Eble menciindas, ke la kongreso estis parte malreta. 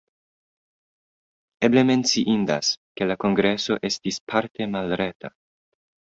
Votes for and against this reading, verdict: 2, 0, accepted